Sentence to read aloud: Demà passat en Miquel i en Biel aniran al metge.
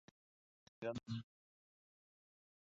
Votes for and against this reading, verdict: 0, 2, rejected